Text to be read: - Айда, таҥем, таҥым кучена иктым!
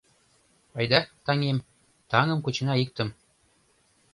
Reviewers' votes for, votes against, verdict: 2, 0, accepted